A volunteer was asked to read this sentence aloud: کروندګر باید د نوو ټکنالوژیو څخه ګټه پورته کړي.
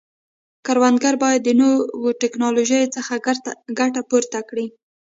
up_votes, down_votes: 1, 2